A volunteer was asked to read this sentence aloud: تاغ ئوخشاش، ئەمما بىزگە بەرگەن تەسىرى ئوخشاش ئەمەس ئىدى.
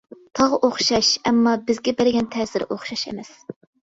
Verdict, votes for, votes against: rejected, 0, 2